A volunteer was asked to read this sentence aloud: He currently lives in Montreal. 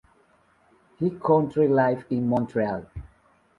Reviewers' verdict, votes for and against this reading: accepted, 2, 1